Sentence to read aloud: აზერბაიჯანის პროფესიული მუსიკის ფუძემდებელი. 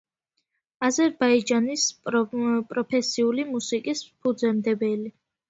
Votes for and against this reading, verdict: 2, 1, accepted